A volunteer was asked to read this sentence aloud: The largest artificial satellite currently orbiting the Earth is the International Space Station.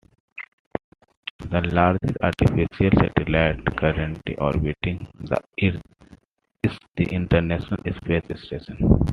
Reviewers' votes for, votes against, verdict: 0, 2, rejected